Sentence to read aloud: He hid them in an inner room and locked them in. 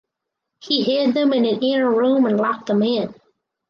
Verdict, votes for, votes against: accepted, 4, 0